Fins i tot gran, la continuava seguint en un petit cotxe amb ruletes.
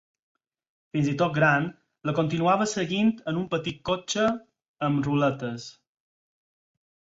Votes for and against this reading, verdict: 4, 0, accepted